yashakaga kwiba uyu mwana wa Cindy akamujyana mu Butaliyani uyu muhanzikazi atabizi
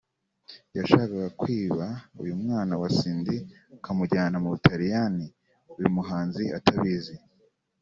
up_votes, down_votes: 1, 2